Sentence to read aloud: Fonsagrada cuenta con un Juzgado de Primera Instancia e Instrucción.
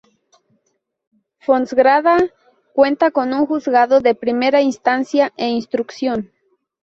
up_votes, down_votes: 2, 6